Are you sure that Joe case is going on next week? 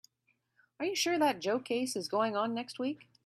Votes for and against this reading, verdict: 2, 0, accepted